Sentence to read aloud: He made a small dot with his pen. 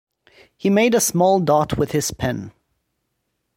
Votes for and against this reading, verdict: 2, 0, accepted